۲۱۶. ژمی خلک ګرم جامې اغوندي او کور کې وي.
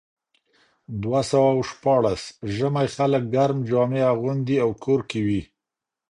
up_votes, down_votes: 0, 2